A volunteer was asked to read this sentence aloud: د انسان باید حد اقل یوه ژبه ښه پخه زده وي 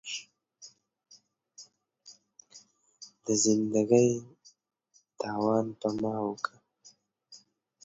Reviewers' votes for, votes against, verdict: 1, 3, rejected